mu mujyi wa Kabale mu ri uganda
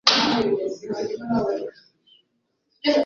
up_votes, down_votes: 1, 2